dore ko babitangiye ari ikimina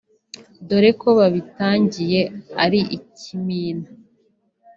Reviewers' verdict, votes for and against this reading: accepted, 2, 0